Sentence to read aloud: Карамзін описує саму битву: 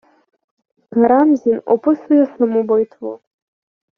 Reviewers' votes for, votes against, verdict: 2, 1, accepted